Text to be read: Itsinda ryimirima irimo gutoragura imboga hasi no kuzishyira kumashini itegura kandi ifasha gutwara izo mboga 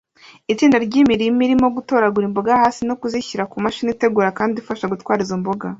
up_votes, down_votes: 2, 0